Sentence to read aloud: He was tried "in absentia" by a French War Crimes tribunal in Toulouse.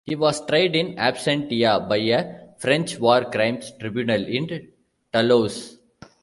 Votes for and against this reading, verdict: 0, 2, rejected